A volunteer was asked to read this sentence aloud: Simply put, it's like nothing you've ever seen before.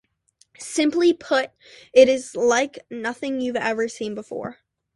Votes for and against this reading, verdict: 1, 2, rejected